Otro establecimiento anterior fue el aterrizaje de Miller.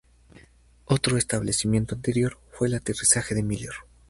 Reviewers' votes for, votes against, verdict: 2, 2, rejected